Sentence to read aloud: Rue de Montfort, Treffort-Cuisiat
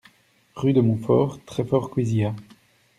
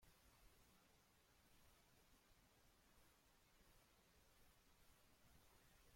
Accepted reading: first